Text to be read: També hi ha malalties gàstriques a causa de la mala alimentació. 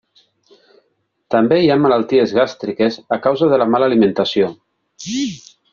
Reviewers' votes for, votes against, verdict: 3, 0, accepted